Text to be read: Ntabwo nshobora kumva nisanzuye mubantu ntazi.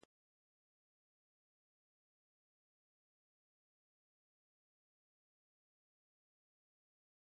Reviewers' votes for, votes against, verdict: 0, 2, rejected